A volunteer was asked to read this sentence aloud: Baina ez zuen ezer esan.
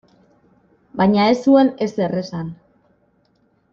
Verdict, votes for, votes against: accepted, 2, 1